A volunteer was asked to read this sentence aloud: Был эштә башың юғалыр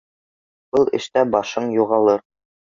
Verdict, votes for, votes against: accepted, 2, 0